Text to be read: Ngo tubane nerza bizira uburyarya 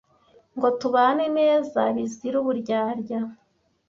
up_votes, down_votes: 1, 2